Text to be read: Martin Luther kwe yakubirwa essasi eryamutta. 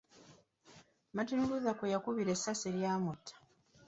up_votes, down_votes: 2, 0